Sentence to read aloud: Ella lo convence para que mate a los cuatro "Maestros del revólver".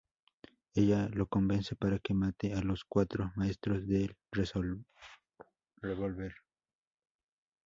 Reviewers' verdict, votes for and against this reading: rejected, 0, 2